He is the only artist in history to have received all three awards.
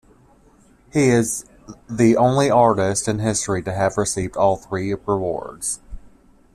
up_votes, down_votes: 1, 2